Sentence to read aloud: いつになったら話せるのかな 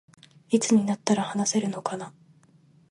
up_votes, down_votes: 2, 0